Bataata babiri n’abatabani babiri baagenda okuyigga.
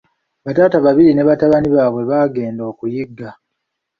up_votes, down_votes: 1, 2